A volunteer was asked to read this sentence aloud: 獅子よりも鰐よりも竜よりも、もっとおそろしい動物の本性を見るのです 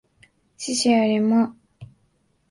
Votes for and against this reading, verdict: 0, 2, rejected